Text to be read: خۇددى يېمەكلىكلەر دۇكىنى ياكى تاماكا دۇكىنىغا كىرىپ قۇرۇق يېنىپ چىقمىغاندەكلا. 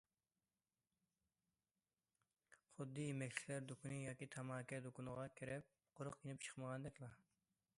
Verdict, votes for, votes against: accepted, 2, 1